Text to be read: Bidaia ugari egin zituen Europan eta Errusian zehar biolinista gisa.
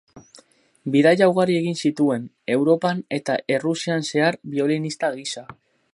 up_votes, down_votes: 4, 0